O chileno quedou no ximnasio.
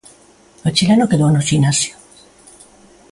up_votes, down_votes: 2, 0